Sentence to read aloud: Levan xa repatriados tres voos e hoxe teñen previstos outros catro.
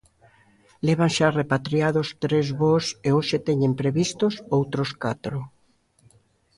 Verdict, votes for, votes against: accepted, 2, 0